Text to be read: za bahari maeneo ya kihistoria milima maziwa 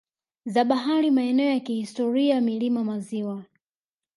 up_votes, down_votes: 2, 0